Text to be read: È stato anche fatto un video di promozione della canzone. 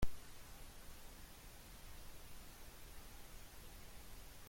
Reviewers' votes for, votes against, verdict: 0, 2, rejected